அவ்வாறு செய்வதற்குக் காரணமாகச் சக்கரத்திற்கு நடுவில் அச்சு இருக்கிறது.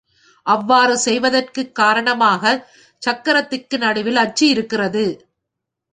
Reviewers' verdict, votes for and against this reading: accepted, 3, 0